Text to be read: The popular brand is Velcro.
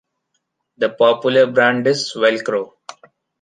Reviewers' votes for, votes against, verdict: 2, 0, accepted